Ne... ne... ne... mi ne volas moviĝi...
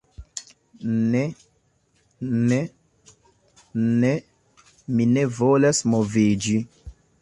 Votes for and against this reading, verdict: 2, 1, accepted